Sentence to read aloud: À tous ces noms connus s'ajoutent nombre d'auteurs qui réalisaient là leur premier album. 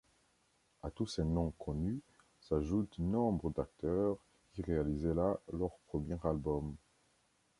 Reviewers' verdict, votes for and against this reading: rejected, 0, 2